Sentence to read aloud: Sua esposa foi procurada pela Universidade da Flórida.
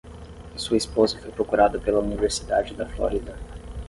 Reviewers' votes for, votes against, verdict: 10, 0, accepted